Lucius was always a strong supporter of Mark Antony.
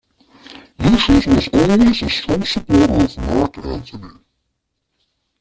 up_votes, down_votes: 0, 2